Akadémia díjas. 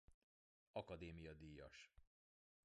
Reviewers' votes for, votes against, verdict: 2, 1, accepted